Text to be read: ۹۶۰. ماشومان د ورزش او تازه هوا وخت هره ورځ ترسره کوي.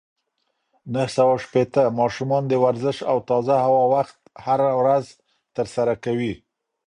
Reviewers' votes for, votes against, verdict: 0, 2, rejected